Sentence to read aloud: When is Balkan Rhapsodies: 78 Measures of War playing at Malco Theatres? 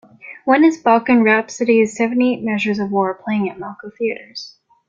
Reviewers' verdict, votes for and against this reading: rejected, 0, 2